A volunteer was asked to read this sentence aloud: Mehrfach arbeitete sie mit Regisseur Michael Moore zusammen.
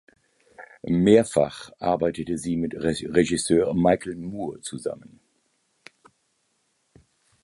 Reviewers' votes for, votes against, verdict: 0, 2, rejected